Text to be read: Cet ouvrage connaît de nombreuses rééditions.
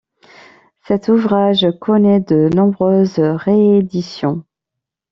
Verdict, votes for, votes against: accepted, 2, 0